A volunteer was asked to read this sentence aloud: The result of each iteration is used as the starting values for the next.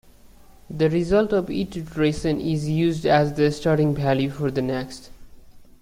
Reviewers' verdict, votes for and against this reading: accepted, 2, 1